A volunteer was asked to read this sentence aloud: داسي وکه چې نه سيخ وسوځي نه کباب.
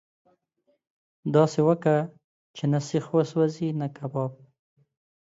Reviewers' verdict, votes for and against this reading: rejected, 1, 2